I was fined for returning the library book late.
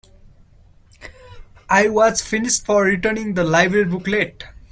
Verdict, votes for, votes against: rejected, 0, 2